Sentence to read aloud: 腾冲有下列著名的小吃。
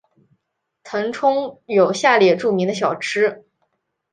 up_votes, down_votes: 3, 0